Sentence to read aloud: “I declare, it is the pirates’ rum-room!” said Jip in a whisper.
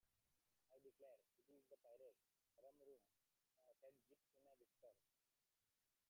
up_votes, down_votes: 0, 2